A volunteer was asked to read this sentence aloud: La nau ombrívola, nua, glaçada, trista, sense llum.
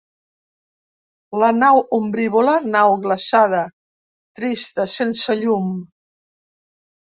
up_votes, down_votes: 0, 2